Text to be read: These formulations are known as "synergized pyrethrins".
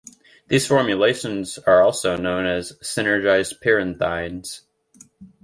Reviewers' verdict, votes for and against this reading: rejected, 0, 2